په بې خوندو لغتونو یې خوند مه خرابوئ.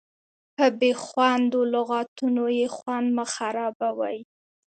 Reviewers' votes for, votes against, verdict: 2, 0, accepted